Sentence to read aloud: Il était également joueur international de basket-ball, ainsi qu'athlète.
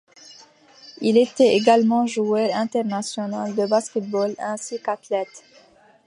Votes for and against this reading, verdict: 2, 0, accepted